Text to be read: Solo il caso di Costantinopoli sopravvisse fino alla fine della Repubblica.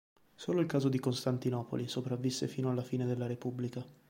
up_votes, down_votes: 2, 0